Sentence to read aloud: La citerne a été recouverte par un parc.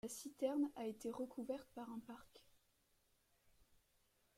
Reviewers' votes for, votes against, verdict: 0, 2, rejected